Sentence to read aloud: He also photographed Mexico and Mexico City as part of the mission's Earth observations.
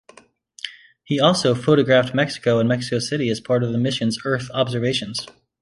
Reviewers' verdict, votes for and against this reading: accepted, 2, 0